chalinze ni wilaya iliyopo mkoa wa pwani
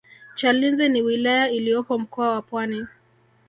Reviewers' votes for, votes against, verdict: 0, 2, rejected